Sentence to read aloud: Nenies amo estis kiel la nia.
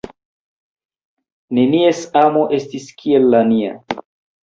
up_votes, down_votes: 2, 1